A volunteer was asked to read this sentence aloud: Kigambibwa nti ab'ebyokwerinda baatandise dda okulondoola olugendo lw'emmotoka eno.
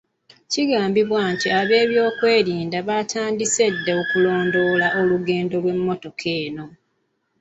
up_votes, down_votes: 2, 1